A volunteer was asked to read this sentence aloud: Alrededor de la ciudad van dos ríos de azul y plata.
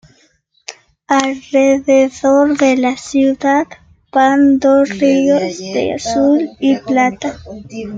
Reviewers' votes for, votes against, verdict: 2, 0, accepted